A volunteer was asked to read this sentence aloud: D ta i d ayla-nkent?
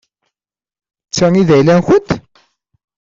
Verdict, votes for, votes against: accepted, 2, 0